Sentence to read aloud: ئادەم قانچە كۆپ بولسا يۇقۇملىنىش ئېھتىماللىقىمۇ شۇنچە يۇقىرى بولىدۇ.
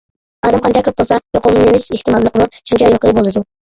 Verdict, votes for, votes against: rejected, 1, 2